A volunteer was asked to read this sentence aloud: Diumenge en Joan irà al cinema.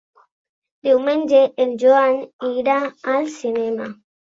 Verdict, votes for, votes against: accepted, 3, 0